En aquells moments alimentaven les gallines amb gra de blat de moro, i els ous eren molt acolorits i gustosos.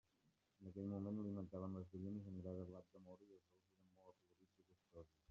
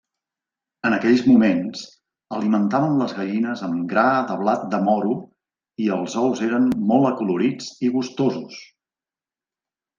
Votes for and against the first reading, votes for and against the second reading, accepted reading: 0, 2, 2, 0, second